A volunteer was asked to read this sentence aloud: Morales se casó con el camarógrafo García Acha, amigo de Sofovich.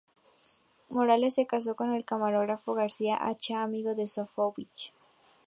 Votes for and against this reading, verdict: 2, 0, accepted